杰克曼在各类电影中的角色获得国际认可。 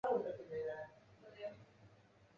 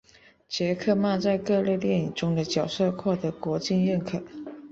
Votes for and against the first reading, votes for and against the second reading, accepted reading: 0, 2, 2, 0, second